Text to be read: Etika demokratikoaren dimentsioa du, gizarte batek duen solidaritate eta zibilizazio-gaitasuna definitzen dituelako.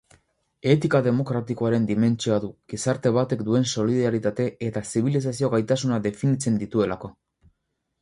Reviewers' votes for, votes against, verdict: 4, 0, accepted